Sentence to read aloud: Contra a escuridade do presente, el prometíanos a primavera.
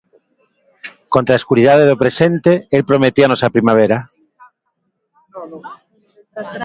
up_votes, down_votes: 2, 1